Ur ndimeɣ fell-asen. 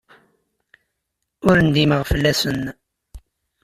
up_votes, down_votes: 2, 0